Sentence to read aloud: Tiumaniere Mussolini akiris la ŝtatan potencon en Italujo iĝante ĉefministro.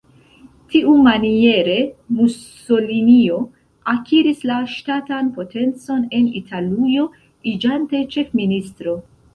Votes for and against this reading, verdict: 0, 2, rejected